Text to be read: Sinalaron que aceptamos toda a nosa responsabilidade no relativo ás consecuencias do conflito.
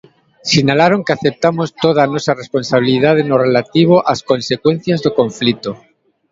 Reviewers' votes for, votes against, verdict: 2, 0, accepted